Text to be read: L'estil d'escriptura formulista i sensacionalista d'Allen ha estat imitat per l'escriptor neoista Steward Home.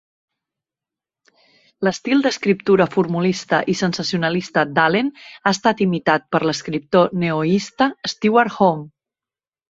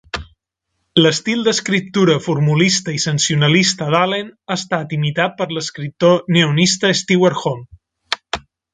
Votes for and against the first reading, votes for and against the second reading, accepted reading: 4, 0, 0, 3, first